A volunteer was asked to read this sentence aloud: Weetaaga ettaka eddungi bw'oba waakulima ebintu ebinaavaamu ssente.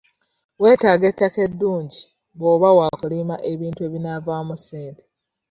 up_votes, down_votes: 2, 0